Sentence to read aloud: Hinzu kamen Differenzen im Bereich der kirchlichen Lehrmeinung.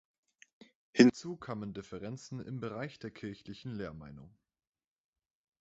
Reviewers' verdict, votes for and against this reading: rejected, 0, 2